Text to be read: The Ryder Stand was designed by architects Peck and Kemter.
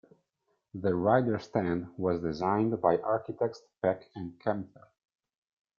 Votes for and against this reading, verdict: 2, 0, accepted